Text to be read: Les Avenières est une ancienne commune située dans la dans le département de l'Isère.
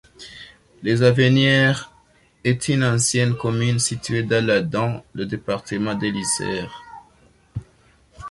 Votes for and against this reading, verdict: 1, 2, rejected